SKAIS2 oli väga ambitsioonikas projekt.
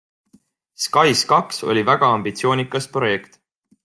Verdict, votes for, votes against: rejected, 0, 2